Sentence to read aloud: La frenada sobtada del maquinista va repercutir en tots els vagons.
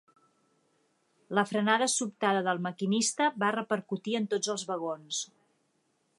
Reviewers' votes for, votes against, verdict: 3, 0, accepted